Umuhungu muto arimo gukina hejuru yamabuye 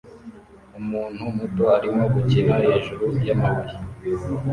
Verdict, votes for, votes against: rejected, 0, 2